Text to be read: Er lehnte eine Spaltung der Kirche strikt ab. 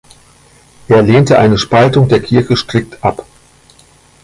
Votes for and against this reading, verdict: 2, 0, accepted